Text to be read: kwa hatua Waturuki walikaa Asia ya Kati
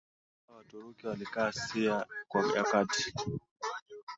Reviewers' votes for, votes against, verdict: 4, 3, accepted